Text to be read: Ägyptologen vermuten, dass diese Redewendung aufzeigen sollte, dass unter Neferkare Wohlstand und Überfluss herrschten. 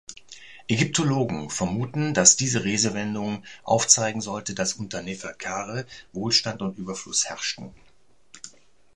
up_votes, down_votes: 1, 2